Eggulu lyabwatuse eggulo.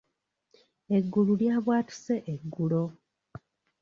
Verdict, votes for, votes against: accepted, 2, 0